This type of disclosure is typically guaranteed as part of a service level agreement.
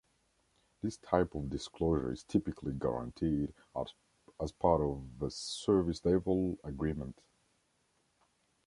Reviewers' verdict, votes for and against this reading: rejected, 1, 2